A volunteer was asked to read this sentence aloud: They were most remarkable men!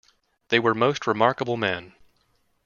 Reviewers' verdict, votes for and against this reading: rejected, 0, 2